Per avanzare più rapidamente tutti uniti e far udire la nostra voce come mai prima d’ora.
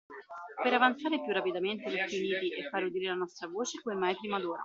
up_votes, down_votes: 0, 2